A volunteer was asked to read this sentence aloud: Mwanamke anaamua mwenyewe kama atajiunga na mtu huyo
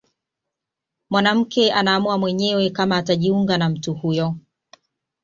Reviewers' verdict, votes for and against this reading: accepted, 2, 0